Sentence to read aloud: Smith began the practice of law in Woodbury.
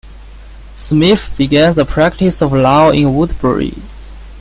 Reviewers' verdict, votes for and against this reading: accepted, 2, 0